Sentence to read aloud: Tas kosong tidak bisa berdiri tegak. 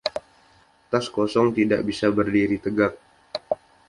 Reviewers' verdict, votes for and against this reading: accepted, 2, 0